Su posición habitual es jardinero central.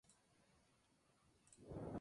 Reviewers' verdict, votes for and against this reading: rejected, 0, 2